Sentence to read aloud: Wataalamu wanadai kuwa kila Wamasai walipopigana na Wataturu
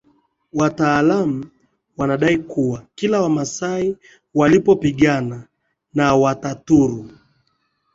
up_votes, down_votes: 0, 2